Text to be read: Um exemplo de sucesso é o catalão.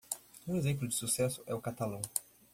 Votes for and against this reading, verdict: 2, 0, accepted